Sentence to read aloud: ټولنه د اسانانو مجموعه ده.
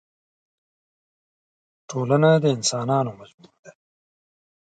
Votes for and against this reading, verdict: 4, 0, accepted